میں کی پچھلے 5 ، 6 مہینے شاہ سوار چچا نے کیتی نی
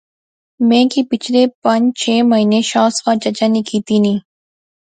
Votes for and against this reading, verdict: 0, 2, rejected